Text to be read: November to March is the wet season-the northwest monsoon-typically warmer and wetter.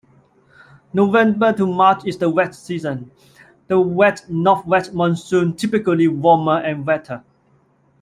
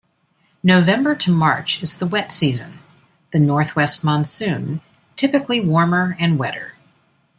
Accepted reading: second